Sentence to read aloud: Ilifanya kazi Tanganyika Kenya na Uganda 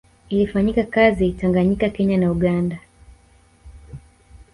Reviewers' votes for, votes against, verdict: 1, 2, rejected